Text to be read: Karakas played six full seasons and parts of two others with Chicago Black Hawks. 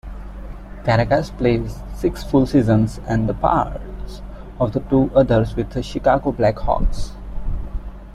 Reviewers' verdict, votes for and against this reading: rejected, 0, 2